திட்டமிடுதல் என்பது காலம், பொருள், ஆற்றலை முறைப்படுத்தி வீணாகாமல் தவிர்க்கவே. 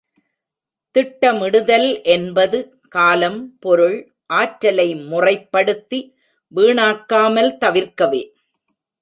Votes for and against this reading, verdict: 0, 2, rejected